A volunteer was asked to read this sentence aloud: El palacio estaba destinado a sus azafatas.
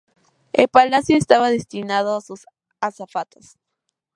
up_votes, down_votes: 2, 0